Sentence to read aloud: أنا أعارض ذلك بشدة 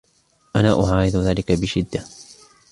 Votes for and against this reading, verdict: 2, 0, accepted